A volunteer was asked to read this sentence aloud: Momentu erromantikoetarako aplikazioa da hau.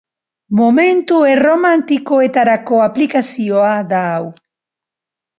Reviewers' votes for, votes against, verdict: 3, 0, accepted